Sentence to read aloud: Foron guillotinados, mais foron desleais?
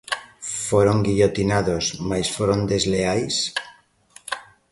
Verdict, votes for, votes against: accepted, 2, 0